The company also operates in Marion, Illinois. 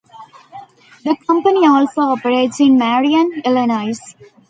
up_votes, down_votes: 2, 0